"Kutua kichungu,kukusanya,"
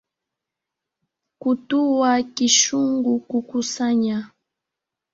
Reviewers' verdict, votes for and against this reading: rejected, 1, 2